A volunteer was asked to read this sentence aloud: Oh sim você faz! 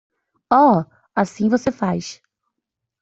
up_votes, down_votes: 0, 2